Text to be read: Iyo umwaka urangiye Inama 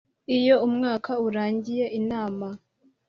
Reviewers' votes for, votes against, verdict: 2, 0, accepted